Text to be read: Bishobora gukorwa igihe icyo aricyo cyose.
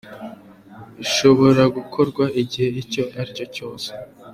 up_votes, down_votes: 2, 0